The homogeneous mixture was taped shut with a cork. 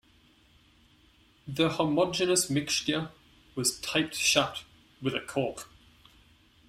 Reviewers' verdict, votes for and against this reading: rejected, 0, 2